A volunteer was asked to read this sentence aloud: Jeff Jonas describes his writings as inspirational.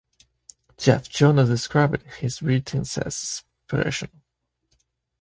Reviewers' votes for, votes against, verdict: 1, 2, rejected